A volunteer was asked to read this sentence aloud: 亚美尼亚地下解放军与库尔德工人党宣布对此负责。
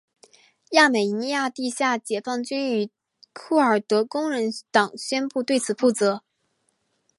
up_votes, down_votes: 2, 0